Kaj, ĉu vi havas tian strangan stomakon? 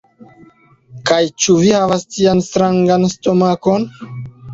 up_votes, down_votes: 1, 2